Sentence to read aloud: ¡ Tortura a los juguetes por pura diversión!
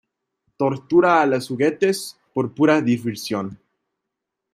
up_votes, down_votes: 2, 0